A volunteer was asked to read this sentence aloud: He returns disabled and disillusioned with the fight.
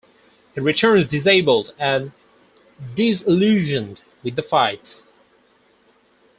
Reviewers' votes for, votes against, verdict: 4, 0, accepted